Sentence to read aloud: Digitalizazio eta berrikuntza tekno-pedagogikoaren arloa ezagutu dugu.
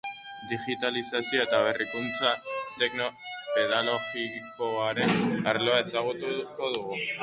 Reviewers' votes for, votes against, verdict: 0, 2, rejected